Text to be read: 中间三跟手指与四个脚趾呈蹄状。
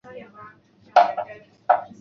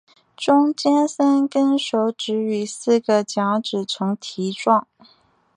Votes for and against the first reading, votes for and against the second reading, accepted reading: 1, 2, 3, 0, second